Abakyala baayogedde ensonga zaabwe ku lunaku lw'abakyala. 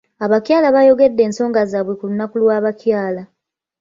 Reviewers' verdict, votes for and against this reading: accepted, 2, 0